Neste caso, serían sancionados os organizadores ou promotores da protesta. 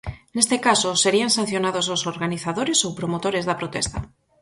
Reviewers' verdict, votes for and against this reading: accepted, 6, 0